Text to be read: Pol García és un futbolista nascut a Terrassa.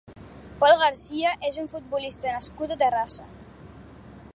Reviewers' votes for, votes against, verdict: 3, 0, accepted